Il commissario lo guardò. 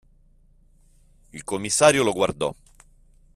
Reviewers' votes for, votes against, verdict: 2, 1, accepted